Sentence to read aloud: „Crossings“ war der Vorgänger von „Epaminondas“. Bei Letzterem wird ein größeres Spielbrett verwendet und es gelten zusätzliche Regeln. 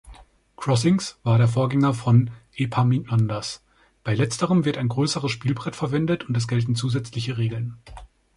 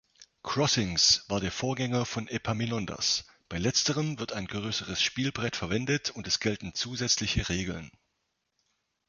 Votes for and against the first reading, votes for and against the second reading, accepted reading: 2, 3, 3, 0, second